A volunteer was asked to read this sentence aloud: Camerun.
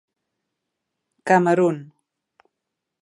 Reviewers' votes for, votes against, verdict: 5, 0, accepted